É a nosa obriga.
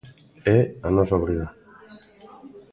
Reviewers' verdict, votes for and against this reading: rejected, 1, 2